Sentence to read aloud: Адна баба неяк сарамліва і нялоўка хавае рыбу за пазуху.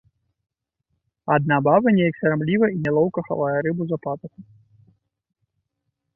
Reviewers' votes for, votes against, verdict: 3, 1, accepted